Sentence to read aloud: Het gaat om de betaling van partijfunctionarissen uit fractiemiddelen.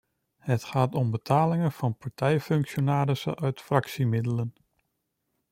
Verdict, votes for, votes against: rejected, 0, 2